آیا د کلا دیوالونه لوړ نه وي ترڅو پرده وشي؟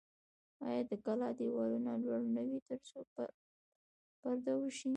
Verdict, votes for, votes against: rejected, 0, 2